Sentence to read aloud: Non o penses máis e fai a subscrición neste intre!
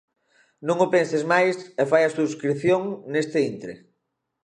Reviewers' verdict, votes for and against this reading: accepted, 2, 0